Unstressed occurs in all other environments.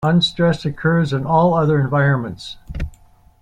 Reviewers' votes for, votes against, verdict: 2, 1, accepted